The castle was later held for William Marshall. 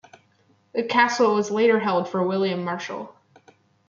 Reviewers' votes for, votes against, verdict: 0, 2, rejected